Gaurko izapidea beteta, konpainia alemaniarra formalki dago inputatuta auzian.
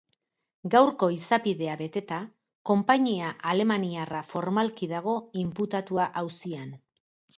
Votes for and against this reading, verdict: 0, 4, rejected